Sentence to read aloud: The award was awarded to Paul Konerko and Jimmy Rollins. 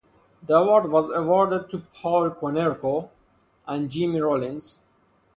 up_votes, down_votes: 2, 2